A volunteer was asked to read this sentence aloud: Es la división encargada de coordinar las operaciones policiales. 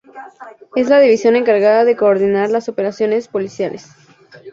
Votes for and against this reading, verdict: 2, 0, accepted